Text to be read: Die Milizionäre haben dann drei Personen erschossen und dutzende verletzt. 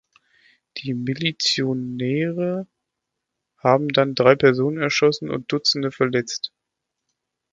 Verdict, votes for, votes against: rejected, 0, 2